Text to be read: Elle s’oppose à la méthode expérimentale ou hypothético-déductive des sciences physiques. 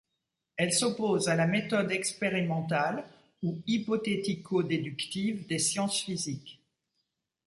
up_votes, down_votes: 2, 0